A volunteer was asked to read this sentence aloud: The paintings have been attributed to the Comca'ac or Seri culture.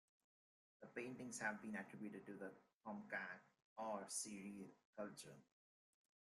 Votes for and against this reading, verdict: 2, 1, accepted